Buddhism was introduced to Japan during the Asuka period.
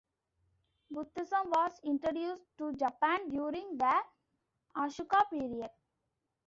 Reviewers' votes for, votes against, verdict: 1, 2, rejected